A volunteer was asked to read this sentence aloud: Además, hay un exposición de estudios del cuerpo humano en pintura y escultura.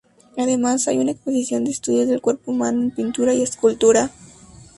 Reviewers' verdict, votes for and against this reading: accepted, 2, 0